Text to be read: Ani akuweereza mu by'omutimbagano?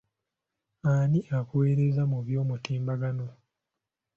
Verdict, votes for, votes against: accepted, 2, 0